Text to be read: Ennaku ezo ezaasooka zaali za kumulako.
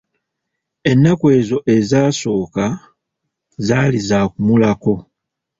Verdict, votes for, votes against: rejected, 1, 2